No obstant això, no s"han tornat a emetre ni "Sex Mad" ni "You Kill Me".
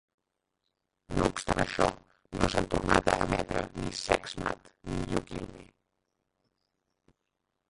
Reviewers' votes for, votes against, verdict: 0, 3, rejected